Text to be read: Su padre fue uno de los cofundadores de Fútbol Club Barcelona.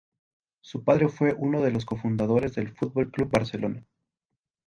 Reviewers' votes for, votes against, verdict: 0, 2, rejected